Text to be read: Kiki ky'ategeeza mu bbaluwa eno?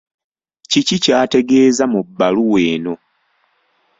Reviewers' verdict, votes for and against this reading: accepted, 2, 0